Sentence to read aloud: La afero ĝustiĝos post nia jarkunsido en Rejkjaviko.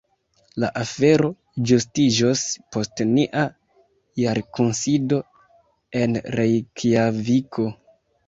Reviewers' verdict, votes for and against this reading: rejected, 0, 2